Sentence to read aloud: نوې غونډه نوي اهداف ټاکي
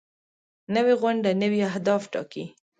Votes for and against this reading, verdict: 2, 0, accepted